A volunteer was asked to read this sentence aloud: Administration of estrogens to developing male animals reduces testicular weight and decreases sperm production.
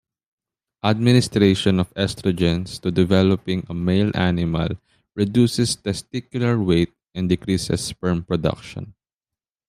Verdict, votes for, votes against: accepted, 2, 0